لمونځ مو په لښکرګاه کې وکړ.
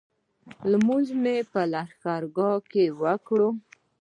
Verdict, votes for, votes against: rejected, 1, 2